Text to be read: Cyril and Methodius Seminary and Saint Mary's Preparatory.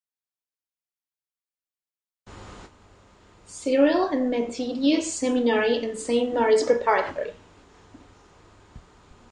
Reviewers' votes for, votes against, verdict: 0, 2, rejected